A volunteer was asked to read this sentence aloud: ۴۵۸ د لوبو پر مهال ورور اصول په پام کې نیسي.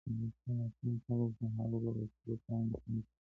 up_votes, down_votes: 0, 2